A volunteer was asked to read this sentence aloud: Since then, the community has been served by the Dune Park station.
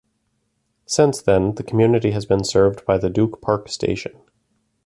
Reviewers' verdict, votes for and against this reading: rejected, 0, 2